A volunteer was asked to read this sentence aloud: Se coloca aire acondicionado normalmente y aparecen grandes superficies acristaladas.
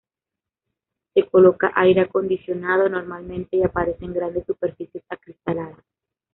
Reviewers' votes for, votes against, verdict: 1, 2, rejected